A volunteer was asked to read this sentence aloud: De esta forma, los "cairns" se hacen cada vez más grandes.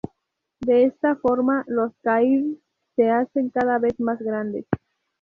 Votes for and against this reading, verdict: 2, 0, accepted